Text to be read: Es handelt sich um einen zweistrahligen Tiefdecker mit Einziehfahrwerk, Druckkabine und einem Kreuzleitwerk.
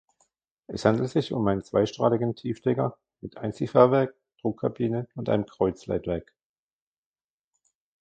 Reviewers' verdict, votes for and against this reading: rejected, 0, 2